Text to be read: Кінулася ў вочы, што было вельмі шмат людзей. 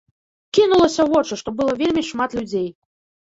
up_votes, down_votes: 1, 2